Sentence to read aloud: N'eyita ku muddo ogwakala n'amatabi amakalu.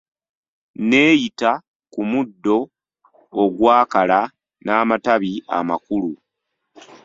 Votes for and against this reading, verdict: 1, 2, rejected